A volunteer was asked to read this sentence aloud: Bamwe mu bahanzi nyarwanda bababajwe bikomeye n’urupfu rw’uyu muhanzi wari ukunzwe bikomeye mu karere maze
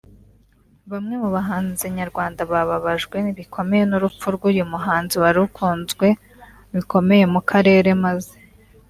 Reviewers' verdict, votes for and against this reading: accepted, 2, 1